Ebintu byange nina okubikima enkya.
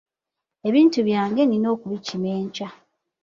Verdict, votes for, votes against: accepted, 2, 0